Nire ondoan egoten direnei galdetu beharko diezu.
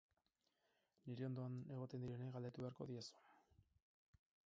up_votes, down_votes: 0, 4